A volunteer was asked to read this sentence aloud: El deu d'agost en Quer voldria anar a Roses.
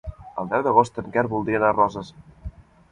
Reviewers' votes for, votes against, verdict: 2, 0, accepted